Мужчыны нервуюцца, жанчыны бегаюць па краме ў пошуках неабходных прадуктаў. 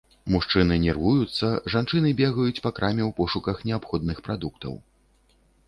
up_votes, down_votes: 3, 0